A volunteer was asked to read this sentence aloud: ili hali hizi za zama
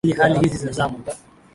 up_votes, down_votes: 0, 2